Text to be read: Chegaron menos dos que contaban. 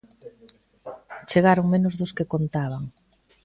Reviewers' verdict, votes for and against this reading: accepted, 2, 1